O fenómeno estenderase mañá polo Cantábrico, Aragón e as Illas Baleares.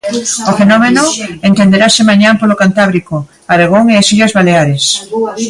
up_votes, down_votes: 0, 2